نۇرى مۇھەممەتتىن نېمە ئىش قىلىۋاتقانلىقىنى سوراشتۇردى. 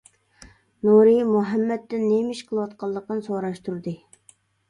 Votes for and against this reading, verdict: 2, 0, accepted